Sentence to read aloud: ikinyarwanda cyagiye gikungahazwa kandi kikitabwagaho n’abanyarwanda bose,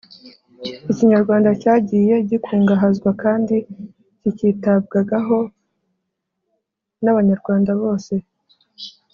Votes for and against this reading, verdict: 3, 0, accepted